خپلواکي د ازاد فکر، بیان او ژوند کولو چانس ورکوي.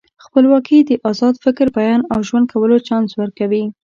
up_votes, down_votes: 2, 0